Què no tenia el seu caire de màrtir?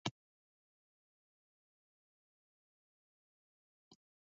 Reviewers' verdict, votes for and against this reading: rejected, 0, 2